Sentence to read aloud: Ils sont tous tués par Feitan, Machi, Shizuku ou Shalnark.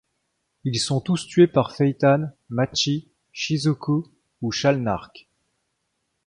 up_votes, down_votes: 2, 0